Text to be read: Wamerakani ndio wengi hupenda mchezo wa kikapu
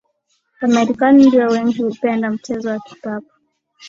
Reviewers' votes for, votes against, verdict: 2, 0, accepted